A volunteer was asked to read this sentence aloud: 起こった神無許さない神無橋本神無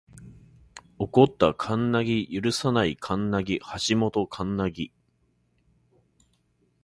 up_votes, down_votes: 2, 3